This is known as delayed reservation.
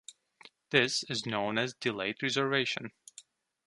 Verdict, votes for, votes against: accepted, 2, 1